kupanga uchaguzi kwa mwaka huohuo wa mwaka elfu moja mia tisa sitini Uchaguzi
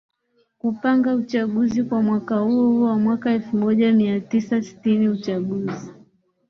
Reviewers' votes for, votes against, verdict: 3, 0, accepted